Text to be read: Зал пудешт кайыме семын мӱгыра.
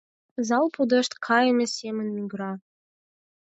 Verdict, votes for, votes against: accepted, 4, 0